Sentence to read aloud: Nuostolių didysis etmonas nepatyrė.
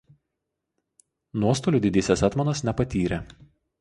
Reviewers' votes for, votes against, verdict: 2, 0, accepted